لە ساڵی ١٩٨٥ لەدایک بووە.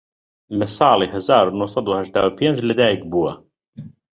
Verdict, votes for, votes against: rejected, 0, 2